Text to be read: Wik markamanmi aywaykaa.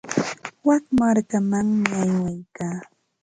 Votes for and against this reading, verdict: 2, 0, accepted